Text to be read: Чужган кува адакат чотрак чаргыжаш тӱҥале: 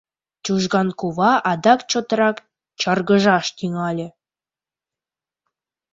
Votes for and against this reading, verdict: 1, 2, rejected